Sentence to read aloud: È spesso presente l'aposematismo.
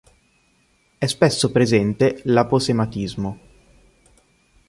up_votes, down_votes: 3, 0